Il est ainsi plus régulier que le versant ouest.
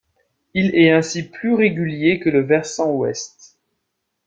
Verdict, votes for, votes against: rejected, 1, 2